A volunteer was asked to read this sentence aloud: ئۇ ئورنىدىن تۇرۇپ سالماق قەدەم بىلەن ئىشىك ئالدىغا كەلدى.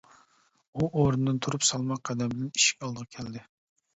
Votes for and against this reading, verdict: 2, 1, accepted